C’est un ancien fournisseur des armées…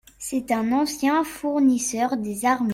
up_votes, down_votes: 1, 2